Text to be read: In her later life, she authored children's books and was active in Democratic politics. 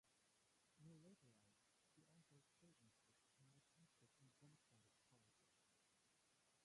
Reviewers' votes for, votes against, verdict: 0, 2, rejected